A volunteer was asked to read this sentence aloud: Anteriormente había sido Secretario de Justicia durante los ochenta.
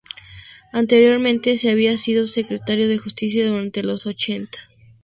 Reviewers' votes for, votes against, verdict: 0, 2, rejected